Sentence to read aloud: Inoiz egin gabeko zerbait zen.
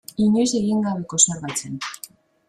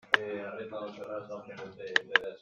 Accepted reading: first